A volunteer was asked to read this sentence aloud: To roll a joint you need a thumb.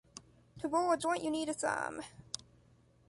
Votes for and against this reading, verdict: 2, 0, accepted